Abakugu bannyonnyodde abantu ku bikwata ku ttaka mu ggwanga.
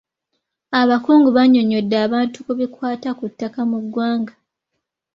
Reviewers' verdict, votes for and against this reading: accepted, 2, 1